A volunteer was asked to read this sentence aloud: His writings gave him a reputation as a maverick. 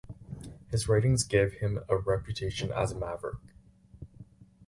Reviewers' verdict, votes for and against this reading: accepted, 4, 0